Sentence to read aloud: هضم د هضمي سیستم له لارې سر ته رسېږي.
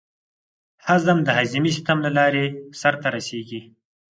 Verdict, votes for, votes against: accepted, 4, 0